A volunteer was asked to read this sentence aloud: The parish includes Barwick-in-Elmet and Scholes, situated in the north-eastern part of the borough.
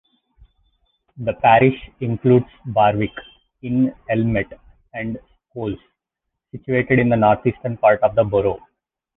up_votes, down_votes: 2, 0